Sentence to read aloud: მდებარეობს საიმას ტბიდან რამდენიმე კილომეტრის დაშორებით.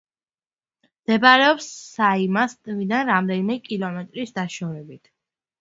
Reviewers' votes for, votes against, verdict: 2, 1, accepted